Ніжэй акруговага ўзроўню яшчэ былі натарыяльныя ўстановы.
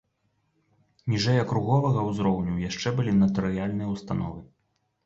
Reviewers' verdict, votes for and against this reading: accepted, 3, 0